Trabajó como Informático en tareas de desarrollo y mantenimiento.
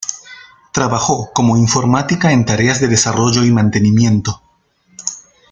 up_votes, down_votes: 0, 2